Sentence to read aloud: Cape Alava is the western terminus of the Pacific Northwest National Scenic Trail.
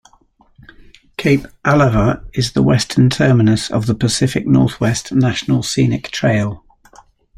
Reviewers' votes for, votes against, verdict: 2, 0, accepted